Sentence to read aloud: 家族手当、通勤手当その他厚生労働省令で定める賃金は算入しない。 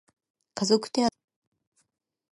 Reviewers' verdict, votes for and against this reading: rejected, 0, 2